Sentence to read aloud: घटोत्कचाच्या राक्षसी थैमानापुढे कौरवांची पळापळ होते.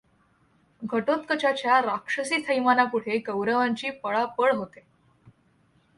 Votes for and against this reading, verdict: 1, 2, rejected